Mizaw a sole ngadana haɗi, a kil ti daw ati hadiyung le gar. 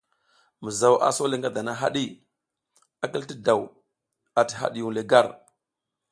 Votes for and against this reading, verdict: 2, 0, accepted